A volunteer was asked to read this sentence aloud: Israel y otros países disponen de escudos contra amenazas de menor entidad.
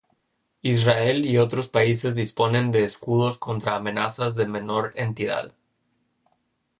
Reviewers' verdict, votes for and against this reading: rejected, 0, 2